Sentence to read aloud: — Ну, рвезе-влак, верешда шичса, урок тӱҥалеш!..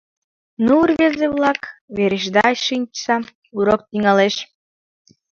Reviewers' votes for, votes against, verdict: 1, 2, rejected